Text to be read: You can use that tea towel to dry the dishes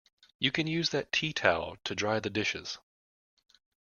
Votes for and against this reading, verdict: 2, 0, accepted